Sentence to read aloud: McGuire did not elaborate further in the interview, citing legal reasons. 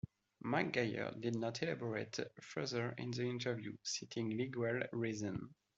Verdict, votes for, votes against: rejected, 1, 2